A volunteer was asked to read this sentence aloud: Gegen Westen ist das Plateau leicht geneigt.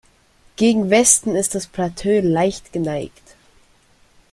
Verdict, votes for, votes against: rejected, 0, 2